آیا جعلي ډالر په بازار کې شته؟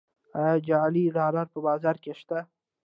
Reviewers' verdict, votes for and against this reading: rejected, 0, 2